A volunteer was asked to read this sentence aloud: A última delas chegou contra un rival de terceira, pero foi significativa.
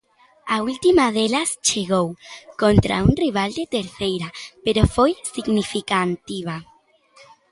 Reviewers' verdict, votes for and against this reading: rejected, 0, 2